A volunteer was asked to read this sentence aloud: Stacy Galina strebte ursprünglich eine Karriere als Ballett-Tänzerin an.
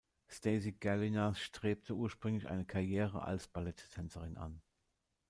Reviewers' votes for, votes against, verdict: 1, 2, rejected